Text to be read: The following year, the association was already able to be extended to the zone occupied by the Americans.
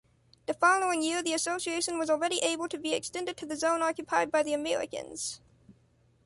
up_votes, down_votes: 0, 2